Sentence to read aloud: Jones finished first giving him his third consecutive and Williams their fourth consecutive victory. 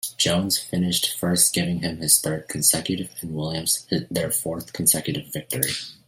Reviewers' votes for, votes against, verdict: 2, 0, accepted